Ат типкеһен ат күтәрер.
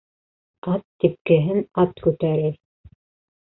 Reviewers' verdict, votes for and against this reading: accepted, 2, 0